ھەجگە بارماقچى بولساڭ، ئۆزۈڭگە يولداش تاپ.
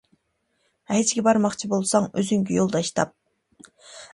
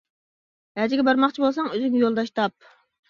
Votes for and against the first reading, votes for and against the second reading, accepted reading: 2, 1, 0, 2, first